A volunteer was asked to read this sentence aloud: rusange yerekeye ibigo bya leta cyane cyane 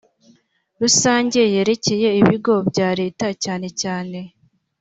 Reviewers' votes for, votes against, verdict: 2, 0, accepted